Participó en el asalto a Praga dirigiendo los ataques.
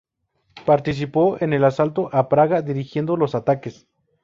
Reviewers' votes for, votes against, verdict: 2, 0, accepted